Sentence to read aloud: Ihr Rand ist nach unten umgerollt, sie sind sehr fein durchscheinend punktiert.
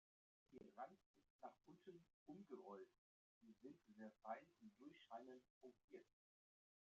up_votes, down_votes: 0, 2